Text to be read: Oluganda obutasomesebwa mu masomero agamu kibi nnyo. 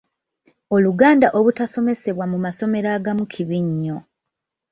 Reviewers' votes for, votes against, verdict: 2, 0, accepted